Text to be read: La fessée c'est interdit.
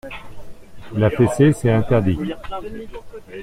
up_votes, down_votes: 2, 0